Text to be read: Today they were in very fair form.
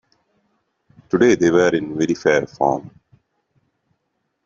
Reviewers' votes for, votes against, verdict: 2, 0, accepted